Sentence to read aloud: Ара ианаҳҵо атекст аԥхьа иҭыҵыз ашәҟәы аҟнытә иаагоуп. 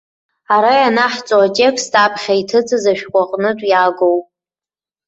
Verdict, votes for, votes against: rejected, 1, 2